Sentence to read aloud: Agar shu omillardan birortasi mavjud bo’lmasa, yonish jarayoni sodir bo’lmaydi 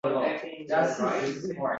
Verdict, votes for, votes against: rejected, 0, 2